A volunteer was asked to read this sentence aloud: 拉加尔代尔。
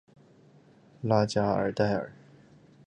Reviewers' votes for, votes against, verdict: 2, 0, accepted